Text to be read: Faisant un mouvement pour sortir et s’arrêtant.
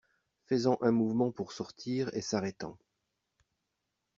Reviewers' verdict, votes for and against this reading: accepted, 2, 0